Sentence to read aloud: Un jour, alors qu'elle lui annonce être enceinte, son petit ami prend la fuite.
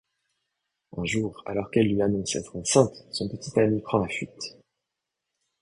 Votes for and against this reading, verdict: 1, 2, rejected